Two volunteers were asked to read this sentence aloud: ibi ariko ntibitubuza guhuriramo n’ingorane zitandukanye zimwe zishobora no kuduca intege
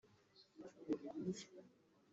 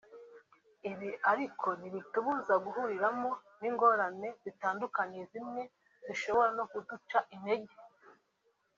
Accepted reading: second